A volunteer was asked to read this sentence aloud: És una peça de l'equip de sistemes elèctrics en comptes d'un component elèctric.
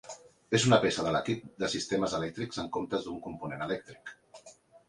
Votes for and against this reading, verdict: 4, 0, accepted